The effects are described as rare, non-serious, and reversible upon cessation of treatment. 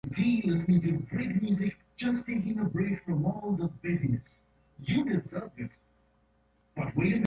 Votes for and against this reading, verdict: 0, 2, rejected